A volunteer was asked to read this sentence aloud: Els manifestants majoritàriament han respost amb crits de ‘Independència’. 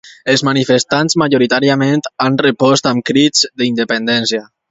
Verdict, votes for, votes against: rejected, 0, 2